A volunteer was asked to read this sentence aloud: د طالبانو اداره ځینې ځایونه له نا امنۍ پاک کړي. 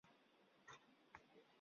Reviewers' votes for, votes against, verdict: 0, 2, rejected